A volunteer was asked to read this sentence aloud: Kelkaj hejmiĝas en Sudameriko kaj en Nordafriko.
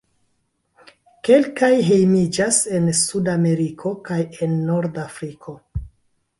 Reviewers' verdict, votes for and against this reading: accepted, 2, 0